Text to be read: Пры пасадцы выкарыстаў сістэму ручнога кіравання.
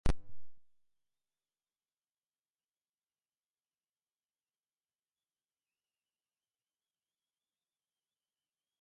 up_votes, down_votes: 0, 2